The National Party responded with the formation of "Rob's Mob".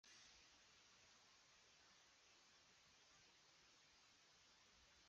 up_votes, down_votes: 0, 2